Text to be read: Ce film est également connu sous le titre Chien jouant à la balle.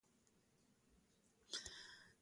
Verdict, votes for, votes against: rejected, 0, 2